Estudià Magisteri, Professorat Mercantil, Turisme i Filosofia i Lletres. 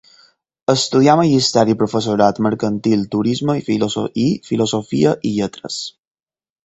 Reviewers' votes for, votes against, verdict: 2, 6, rejected